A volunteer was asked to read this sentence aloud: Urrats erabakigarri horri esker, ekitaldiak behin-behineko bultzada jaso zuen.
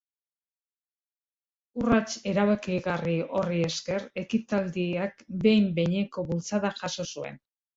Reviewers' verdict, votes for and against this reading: accepted, 2, 0